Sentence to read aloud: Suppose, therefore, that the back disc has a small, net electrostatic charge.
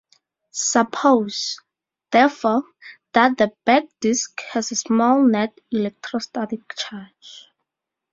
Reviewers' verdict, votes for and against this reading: rejected, 0, 2